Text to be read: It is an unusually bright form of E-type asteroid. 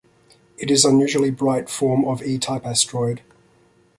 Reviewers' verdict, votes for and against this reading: accepted, 2, 0